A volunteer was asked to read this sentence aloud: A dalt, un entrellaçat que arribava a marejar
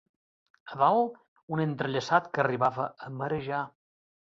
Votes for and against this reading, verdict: 3, 0, accepted